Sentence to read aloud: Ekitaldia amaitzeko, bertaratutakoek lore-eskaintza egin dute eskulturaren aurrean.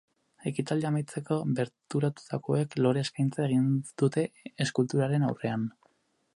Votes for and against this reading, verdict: 0, 2, rejected